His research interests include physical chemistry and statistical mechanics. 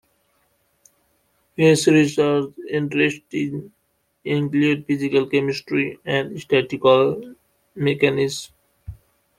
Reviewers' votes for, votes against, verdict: 2, 1, accepted